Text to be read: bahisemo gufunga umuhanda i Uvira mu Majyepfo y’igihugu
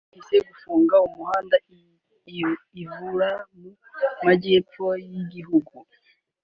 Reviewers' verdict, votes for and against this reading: accepted, 3, 1